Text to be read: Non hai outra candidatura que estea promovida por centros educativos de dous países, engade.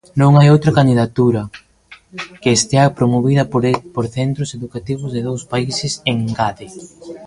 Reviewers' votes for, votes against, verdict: 0, 2, rejected